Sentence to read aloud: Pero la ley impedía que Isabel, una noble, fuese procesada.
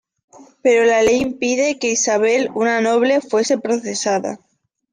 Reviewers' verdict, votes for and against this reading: rejected, 1, 2